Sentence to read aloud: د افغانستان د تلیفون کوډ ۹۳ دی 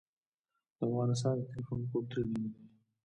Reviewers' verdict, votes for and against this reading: rejected, 0, 2